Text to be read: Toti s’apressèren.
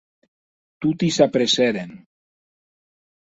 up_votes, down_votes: 2, 0